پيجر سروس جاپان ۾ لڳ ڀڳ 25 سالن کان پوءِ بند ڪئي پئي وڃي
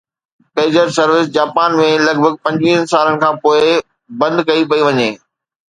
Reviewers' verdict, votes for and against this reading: rejected, 0, 2